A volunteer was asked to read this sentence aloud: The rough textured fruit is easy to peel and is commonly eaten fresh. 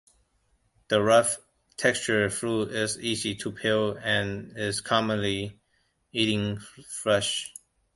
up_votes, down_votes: 1, 2